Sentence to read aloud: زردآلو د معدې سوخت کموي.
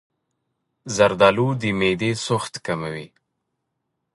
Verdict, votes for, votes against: accepted, 2, 0